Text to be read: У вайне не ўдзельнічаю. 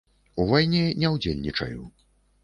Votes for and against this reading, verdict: 3, 0, accepted